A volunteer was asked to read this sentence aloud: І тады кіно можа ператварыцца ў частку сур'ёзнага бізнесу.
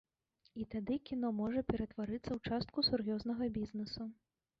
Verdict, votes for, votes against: accepted, 3, 2